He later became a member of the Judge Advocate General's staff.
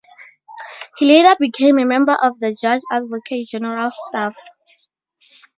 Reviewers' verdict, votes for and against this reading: accepted, 4, 0